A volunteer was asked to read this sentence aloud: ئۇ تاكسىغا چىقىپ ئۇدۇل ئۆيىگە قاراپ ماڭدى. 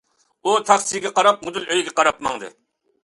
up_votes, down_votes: 0, 2